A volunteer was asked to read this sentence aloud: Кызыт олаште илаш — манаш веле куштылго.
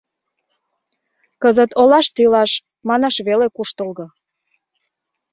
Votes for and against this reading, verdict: 2, 0, accepted